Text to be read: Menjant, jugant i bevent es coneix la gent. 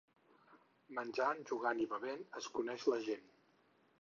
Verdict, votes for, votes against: accepted, 4, 0